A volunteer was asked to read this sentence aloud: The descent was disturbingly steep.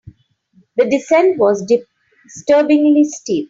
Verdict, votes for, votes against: rejected, 0, 2